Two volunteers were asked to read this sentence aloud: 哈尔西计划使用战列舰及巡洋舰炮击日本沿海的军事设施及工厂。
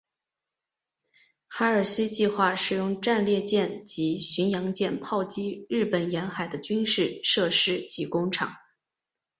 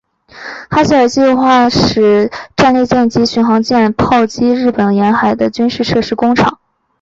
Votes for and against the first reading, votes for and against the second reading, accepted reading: 2, 0, 0, 4, first